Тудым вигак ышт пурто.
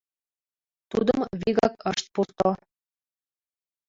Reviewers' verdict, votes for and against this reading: accepted, 2, 0